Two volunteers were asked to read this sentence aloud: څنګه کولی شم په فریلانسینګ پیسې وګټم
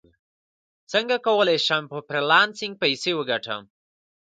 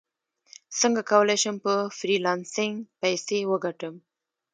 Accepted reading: first